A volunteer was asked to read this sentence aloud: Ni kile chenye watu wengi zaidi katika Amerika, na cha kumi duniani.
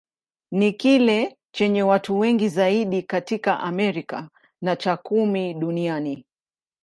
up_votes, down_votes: 2, 0